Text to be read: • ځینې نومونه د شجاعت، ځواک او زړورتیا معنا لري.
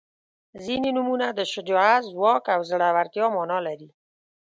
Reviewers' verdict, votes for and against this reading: accepted, 2, 0